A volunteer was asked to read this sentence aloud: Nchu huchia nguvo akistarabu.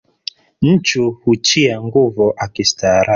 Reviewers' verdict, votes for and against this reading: accepted, 2, 0